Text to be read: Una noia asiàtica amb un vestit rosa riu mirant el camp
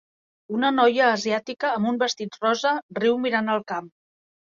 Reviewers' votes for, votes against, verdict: 2, 0, accepted